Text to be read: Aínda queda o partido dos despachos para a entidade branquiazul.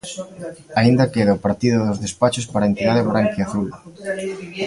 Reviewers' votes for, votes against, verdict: 0, 2, rejected